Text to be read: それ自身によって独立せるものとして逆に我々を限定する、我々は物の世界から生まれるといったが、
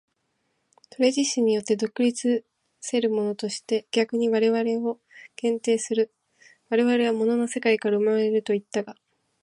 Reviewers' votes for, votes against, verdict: 2, 0, accepted